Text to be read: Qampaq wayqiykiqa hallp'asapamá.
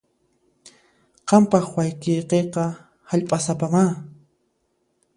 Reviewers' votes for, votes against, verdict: 2, 0, accepted